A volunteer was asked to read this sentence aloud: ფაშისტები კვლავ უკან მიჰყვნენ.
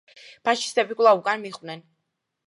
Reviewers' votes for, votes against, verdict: 2, 0, accepted